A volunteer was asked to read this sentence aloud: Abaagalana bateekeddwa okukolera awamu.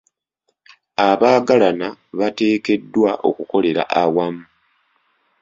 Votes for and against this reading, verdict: 2, 0, accepted